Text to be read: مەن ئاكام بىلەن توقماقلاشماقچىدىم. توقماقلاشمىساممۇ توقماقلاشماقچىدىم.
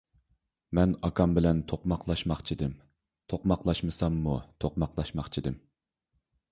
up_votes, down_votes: 2, 0